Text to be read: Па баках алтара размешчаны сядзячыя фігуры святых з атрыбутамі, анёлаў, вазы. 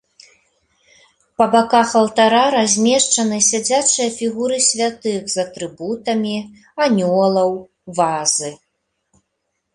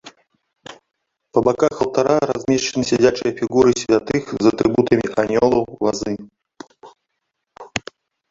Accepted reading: first